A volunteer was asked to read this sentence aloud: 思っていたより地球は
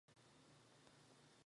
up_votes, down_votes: 1, 2